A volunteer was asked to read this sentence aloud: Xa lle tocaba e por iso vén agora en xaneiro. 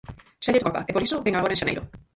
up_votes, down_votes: 0, 4